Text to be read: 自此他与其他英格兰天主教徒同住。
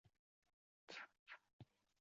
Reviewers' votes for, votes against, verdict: 0, 3, rejected